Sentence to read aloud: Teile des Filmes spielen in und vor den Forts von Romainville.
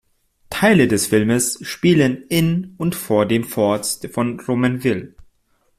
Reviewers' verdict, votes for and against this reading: accepted, 2, 0